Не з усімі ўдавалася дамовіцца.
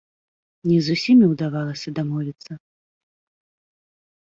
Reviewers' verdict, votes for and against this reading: accepted, 2, 0